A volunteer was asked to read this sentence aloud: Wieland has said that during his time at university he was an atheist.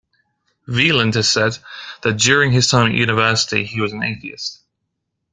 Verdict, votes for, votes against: accepted, 2, 0